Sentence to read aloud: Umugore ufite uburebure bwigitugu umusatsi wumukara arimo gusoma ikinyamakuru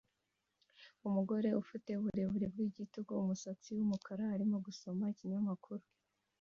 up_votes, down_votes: 1, 2